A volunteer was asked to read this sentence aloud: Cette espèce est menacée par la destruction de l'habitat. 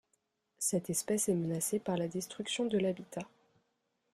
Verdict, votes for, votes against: accepted, 2, 0